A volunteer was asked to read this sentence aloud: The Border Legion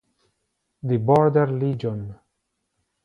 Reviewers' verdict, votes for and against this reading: accepted, 2, 0